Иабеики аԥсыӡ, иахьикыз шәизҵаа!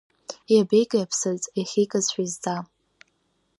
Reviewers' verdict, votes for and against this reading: accepted, 2, 0